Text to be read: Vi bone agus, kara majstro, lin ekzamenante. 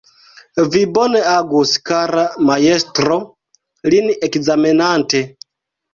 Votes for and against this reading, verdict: 1, 2, rejected